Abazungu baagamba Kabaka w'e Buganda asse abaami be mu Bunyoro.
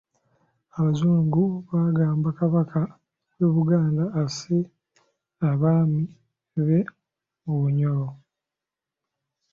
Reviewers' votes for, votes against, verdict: 2, 1, accepted